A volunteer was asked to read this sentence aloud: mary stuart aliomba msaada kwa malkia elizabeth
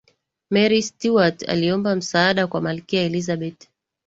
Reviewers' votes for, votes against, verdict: 1, 2, rejected